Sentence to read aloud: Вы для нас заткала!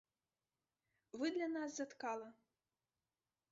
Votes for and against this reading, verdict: 0, 2, rejected